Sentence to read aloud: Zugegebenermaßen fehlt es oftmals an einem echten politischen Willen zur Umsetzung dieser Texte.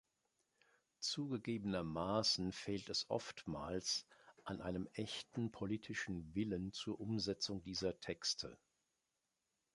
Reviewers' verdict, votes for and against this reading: accepted, 2, 0